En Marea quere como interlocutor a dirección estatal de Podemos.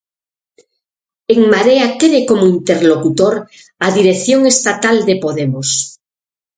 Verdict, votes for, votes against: accepted, 6, 0